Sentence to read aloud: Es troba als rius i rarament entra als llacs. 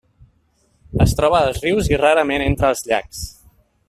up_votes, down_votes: 2, 0